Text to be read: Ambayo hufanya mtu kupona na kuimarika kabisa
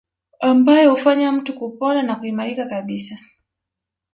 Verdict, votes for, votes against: accepted, 2, 0